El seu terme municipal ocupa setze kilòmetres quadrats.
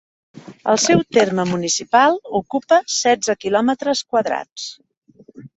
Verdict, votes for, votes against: accepted, 2, 0